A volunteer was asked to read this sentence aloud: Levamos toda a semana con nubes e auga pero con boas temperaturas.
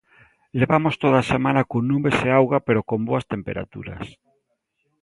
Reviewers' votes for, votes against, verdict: 2, 0, accepted